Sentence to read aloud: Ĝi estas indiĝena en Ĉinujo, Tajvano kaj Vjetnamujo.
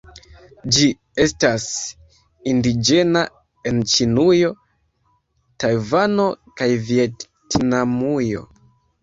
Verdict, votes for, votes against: rejected, 1, 2